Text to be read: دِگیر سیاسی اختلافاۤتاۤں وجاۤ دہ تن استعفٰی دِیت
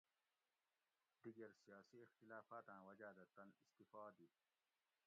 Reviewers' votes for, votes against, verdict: 1, 2, rejected